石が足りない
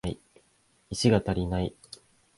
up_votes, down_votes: 2, 1